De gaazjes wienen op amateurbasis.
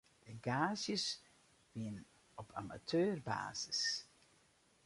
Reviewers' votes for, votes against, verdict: 0, 2, rejected